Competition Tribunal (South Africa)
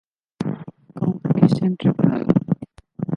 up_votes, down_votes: 0, 2